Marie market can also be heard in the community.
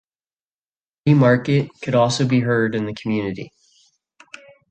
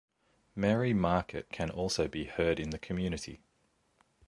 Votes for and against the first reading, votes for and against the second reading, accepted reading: 1, 2, 2, 0, second